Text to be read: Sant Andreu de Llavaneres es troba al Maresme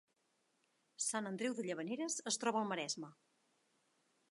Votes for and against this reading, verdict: 0, 2, rejected